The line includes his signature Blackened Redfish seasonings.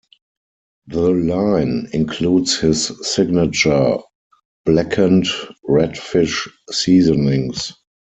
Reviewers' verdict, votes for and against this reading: accepted, 4, 0